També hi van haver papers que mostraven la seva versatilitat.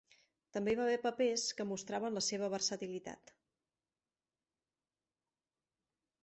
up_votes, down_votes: 0, 2